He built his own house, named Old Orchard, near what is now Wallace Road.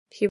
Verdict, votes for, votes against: rejected, 0, 2